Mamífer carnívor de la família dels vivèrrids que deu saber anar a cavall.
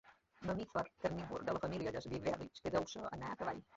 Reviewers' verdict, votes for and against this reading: rejected, 0, 2